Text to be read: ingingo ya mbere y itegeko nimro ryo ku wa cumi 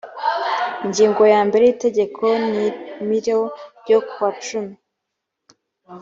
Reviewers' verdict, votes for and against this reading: accepted, 2, 0